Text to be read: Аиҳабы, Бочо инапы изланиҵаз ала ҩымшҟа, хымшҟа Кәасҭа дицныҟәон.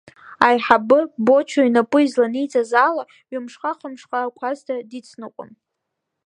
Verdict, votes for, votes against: accepted, 2, 0